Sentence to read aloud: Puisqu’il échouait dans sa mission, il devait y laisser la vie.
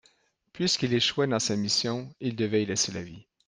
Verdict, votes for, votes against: accepted, 2, 0